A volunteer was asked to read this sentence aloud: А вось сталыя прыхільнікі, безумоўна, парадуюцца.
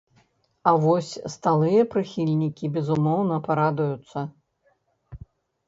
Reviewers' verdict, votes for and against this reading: rejected, 0, 2